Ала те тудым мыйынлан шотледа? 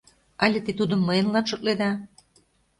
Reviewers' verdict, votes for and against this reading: rejected, 0, 2